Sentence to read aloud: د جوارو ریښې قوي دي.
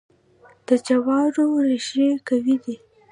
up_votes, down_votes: 2, 0